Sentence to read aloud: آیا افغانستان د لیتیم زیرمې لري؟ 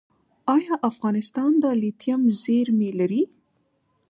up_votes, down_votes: 2, 0